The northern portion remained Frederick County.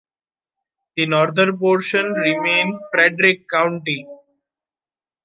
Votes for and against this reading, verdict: 2, 0, accepted